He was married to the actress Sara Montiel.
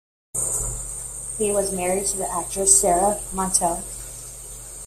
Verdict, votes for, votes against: accepted, 2, 0